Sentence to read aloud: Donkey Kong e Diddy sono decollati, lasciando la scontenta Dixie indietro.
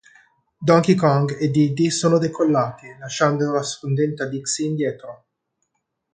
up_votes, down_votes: 2, 0